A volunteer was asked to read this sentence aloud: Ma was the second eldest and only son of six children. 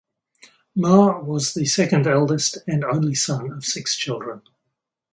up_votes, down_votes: 2, 2